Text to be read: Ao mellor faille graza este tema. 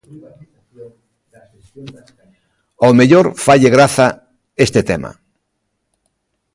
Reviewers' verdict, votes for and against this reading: rejected, 1, 2